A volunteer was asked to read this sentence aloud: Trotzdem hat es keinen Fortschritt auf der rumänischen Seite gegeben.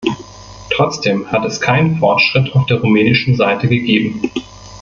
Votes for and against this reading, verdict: 1, 2, rejected